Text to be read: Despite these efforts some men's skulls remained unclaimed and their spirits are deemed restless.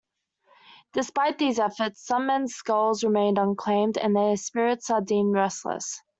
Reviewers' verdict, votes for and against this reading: accepted, 2, 0